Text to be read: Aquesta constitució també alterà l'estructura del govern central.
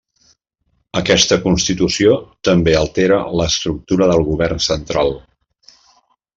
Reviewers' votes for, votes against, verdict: 1, 2, rejected